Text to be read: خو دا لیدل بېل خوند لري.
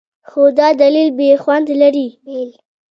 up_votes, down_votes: 2, 0